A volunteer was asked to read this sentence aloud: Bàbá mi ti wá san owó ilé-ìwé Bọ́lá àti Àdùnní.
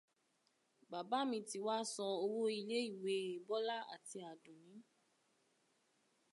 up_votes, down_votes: 2, 0